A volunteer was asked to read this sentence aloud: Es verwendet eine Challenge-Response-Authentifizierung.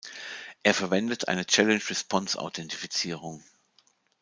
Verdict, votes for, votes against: rejected, 1, 2